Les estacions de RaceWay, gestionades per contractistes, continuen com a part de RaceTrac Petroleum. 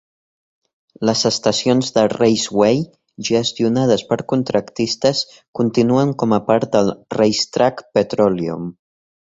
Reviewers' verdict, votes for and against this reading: accepted, 2, 1